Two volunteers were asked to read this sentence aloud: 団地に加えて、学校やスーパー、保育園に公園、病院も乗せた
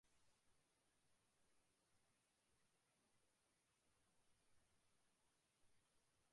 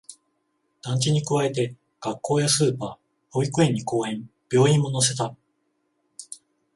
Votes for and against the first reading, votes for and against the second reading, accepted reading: 0, 2, 14, 0, second